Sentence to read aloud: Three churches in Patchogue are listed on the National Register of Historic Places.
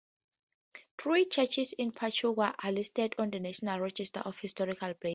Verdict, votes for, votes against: rejected, 2, 2